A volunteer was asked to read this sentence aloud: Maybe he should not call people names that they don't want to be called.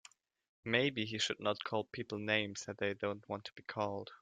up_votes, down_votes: 3, 0